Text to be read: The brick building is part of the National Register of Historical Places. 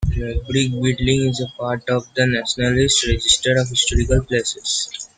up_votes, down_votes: 0, 2